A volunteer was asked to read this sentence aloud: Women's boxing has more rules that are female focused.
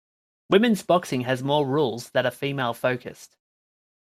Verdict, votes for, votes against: accepted, 2, 0